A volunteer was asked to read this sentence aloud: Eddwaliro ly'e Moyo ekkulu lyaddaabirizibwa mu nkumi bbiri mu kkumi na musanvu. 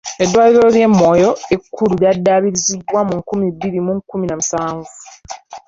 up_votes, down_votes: 1, 2